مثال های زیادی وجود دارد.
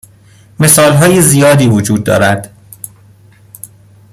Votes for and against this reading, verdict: 2, 0, accepted